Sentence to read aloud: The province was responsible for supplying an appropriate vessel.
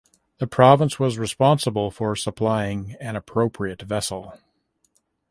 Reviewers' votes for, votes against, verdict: 2, 0, accepted